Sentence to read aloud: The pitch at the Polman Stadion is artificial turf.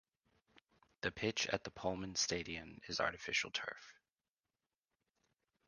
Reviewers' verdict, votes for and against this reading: accepted, 2, 0